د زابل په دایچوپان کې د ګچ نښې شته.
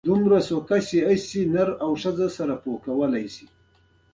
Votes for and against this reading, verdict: 2, 0, accepted